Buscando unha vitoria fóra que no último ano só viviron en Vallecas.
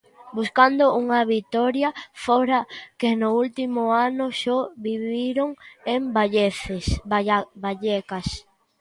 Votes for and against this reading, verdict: 0, 2, rejected